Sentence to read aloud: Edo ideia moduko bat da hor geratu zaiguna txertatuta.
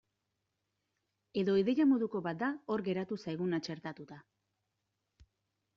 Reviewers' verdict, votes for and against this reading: accepted, 2, 0